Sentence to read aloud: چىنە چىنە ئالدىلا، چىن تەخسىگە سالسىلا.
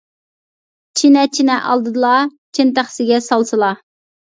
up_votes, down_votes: 0, 2